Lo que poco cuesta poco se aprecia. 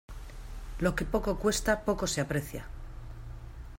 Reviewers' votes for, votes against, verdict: 2, 0, accepted